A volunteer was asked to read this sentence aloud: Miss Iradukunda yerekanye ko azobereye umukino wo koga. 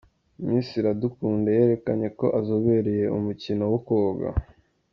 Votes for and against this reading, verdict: 2, 0, accepted